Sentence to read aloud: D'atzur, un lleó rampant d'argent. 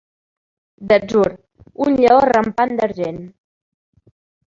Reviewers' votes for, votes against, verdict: 2, 1, accepted